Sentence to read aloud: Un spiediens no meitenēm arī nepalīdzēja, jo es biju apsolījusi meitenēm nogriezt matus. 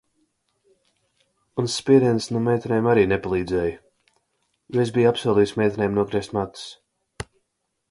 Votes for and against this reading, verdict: 2, 0, accepted